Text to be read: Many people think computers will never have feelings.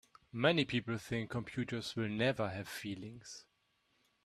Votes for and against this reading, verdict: 2, 0, accepted